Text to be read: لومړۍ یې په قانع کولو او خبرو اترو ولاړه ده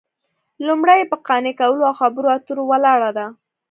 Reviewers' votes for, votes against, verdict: 2, 0, accepted